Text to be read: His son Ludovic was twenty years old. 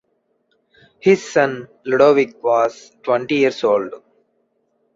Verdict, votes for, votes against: accepted, 2, 0